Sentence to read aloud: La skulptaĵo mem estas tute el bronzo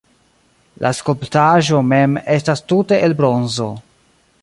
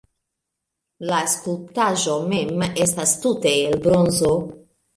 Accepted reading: second